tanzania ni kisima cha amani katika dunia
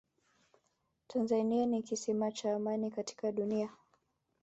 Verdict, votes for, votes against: rejected, 1, 2